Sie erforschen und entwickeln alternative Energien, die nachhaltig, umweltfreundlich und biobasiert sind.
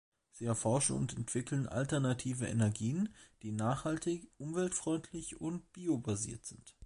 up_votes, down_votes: 2, 0